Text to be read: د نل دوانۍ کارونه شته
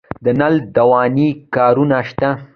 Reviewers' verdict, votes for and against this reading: accepted, 2, 0